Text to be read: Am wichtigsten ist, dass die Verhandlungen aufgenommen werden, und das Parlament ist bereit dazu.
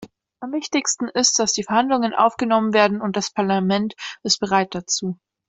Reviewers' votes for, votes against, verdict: 2, 0, accepted